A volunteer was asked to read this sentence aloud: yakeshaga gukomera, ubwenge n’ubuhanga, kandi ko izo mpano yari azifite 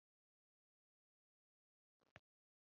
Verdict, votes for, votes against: rejected, 1, 2